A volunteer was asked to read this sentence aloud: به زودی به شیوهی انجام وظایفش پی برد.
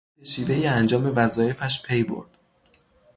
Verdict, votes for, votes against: rejected, 0, 3